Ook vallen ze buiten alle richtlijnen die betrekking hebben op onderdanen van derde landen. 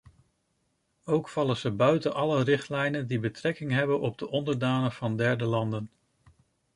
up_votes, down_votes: 0, 2